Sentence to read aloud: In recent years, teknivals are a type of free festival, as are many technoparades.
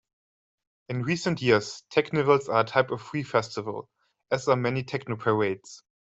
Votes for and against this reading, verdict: 2, 0, accepted